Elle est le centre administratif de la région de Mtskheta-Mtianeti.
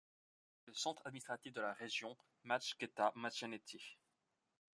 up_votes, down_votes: 0, 2